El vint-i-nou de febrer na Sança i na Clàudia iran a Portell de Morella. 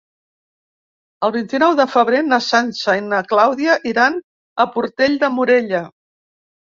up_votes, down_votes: 3, 0